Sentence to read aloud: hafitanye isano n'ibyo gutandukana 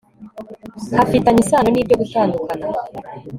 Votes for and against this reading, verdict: 2, 0, accepted